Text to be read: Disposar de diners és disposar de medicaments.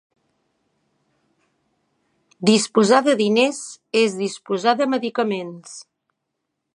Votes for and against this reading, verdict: 2, 0, accepted